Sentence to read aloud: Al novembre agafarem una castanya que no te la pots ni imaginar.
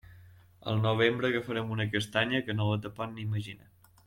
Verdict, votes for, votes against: rejected, 0, 2